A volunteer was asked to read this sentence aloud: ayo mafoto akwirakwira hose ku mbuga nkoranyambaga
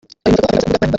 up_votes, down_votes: 0, 2